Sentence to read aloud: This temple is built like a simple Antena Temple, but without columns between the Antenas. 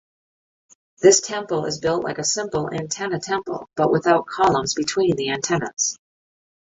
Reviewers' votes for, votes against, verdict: 1, 2, rejected